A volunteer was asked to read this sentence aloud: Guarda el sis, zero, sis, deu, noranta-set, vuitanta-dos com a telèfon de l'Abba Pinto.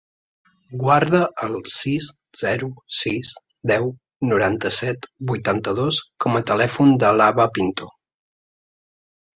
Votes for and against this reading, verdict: 2, 0, accepted